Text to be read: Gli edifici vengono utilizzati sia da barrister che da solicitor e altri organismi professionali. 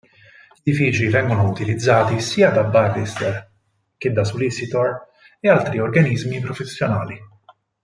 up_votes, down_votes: 2, 4